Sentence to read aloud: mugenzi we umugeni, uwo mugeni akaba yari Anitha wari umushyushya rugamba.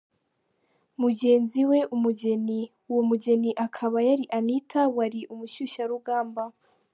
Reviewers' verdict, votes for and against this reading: rejected, 1, 3